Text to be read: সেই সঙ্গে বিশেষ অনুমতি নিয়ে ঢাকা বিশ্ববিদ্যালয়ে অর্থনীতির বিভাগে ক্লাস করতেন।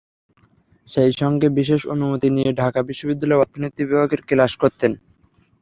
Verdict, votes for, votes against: accepted, 3, 0